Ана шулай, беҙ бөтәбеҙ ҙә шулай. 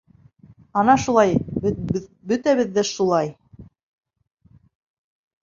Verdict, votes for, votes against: rejected, 1, 2